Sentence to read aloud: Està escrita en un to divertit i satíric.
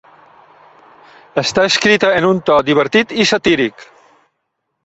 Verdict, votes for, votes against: accepted, 3, 0